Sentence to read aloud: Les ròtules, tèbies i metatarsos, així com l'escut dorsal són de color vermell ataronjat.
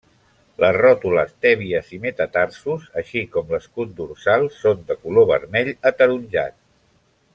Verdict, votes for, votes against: accepted, 3, 0